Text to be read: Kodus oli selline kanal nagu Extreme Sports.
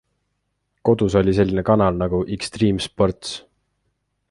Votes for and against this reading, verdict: 2, 0, accepted